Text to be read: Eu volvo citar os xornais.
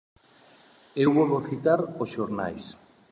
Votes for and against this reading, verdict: 2, 0, accepted